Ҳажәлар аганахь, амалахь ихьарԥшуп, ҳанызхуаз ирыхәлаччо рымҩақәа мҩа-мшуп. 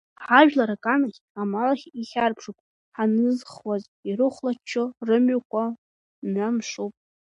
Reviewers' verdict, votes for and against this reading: accepted, 2, 0